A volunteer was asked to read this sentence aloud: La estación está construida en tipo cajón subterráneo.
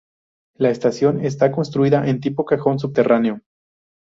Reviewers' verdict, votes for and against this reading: accepted, 2, 0